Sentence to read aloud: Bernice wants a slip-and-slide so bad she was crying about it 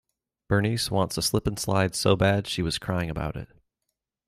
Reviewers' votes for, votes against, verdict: 2, 0, accepted